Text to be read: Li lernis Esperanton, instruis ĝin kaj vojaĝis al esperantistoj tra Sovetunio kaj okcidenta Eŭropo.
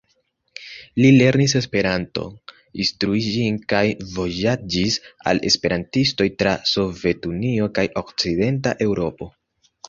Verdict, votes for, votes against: rejected, 1, 2